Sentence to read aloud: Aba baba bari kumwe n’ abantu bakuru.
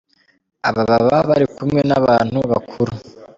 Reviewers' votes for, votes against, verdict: 2, 0, accepted